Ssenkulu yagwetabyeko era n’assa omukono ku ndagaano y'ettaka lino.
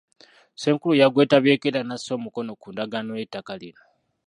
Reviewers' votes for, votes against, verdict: 1, 2, rejected